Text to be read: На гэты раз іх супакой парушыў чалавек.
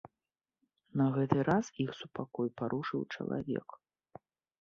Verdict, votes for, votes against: accepted, 2, 0